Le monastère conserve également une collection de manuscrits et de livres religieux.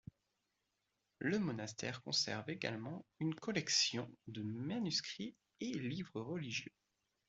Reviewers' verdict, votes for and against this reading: rejected, 1, 2